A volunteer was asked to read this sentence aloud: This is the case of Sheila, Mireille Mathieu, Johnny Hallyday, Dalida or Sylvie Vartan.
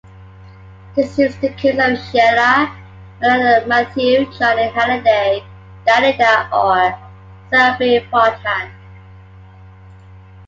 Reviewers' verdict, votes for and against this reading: accepted, 2, 1